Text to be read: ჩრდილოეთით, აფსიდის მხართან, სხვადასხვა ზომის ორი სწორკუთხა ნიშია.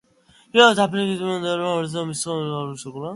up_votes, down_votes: 0, 2